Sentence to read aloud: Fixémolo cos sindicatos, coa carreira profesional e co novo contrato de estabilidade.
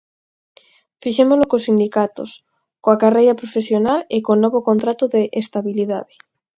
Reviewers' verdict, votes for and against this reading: accepted, 6, 0